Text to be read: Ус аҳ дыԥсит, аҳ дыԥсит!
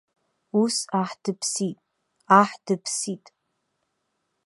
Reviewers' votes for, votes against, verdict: 2, 0, accepted